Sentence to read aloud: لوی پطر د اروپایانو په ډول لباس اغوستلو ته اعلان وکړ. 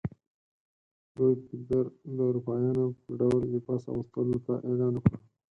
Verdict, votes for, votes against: accepted, 4, 0